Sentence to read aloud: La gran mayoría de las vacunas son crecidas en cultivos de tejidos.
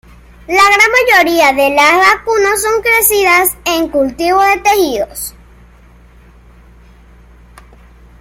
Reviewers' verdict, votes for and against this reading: accepted, 2, 0